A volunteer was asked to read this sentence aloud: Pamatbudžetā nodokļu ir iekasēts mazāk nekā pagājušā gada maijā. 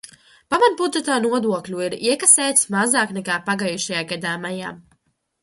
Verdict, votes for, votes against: rejected, 0, 2